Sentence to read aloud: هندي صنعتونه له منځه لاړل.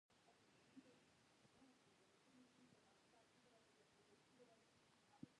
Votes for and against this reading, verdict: 0, 2, rejected